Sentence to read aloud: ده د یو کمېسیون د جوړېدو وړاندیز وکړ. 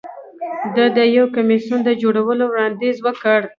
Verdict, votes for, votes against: accepted, 2, 0